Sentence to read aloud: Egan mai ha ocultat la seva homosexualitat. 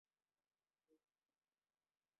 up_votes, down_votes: 0, 3